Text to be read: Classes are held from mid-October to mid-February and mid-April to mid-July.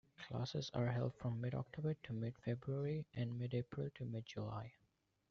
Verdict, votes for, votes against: rejected, 1, 2